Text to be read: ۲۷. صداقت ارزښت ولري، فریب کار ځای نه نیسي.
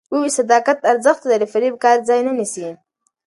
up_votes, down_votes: 0, 2